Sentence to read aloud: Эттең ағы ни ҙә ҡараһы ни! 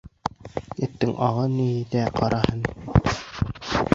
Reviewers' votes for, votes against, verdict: 0, 2, rejected